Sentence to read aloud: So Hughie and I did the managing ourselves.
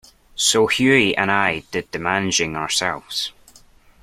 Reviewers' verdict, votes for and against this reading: accepted, 2, 0